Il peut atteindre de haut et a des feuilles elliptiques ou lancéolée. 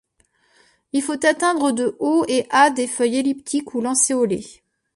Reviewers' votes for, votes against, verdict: 0, 2, rejected